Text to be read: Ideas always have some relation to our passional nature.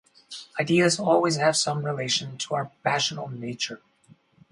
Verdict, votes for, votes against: accepted, 4, 0